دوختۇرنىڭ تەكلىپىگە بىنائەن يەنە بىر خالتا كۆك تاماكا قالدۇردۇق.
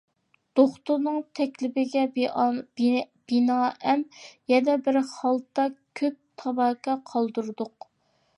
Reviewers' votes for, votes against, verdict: 0, 2, rejected